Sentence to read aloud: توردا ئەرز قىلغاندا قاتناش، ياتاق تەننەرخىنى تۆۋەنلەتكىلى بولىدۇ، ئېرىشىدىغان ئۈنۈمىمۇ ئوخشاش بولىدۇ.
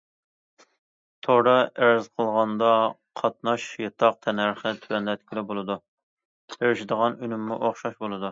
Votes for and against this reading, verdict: 0, 2, rejected